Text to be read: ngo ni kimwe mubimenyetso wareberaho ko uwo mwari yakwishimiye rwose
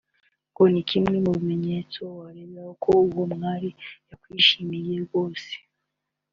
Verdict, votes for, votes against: accepted, 2, 1